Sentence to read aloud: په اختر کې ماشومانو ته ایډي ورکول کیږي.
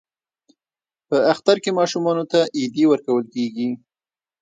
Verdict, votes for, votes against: rejected, 0, 2